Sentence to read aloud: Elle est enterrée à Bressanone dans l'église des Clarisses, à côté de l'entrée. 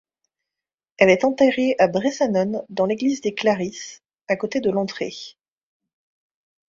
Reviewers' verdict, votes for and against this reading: accepted, 2, 0